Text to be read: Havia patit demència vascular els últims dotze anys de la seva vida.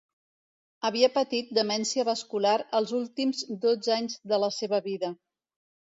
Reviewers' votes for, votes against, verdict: 2, 0, accepted